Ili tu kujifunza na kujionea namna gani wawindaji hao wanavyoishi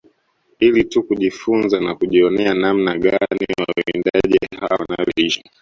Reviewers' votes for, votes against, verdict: 1, 2, rejected